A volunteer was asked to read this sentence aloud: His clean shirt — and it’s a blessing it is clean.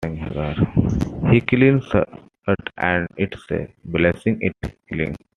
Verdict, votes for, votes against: rejected, 1, 2